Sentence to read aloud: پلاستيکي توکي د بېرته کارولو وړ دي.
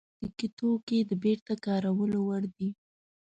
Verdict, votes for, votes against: rejected, 1, 2